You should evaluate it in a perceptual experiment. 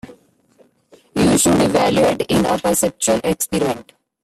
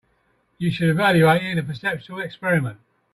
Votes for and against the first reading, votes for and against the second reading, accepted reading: 0, 2, 2, 1, second